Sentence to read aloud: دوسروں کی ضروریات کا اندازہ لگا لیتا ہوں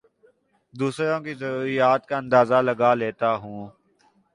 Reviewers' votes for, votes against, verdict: 2, 0, accepted